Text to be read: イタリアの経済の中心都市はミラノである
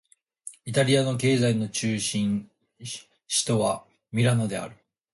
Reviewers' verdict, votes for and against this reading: rejected, 0, 3